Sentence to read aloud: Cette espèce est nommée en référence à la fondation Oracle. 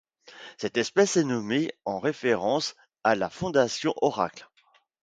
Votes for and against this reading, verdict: 2, 0, accepted